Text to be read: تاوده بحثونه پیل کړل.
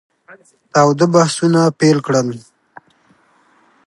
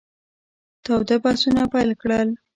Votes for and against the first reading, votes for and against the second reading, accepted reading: 2, 0, 1, 2, first